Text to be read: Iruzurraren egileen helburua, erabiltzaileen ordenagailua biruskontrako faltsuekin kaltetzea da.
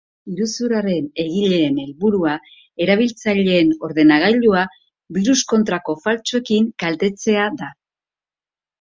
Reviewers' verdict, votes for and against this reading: accepted, 2, 0